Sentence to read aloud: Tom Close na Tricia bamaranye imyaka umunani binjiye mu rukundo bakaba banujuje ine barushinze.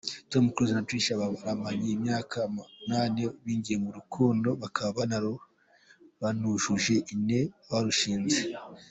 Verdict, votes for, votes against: rejected, 1, 2